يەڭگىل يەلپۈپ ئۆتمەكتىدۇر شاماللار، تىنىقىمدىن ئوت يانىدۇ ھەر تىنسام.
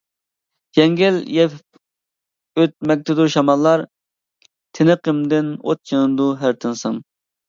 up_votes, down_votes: 0, 2